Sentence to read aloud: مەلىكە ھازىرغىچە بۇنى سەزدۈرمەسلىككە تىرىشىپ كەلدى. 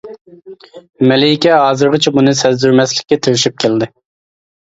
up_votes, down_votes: 2, 0